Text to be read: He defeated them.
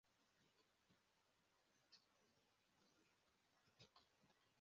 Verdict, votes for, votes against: rejected, 0, 2